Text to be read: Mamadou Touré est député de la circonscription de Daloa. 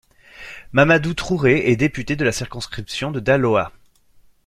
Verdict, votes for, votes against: rejected, 0, 2